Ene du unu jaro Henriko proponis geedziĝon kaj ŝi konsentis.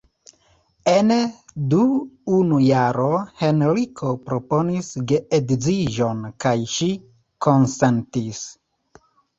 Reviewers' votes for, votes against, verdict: 1, 2, rejected